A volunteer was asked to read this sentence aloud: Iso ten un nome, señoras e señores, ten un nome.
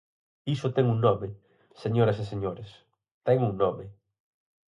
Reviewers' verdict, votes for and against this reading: accepted, 4, 0